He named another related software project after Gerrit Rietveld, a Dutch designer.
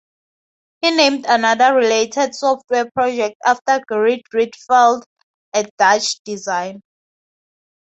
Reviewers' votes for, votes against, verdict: 0, 2, rejected